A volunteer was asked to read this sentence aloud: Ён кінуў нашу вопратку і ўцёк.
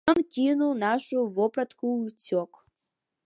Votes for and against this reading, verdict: 0, 2, rejected